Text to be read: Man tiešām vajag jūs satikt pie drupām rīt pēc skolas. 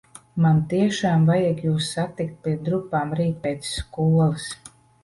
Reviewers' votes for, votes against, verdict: 1, 2, rejected